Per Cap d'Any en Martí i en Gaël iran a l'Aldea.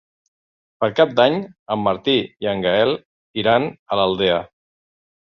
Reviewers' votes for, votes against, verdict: 3, 0, accepted